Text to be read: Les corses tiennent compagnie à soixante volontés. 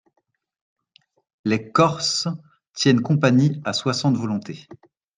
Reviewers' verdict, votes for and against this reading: accepted, 2, 0